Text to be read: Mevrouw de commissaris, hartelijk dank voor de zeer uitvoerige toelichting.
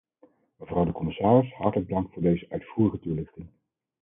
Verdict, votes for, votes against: rejected, 0, 4